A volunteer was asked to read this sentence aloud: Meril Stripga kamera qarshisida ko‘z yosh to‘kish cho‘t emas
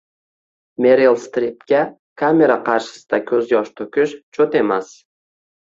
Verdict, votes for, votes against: rejected, 1, 2